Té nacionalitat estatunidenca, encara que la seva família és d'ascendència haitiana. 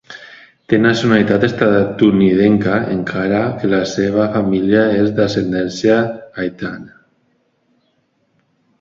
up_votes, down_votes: 1, 2